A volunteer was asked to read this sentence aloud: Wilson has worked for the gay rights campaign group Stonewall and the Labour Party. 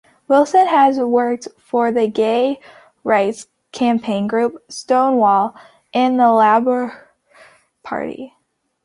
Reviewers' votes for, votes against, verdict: 3, 2, accepted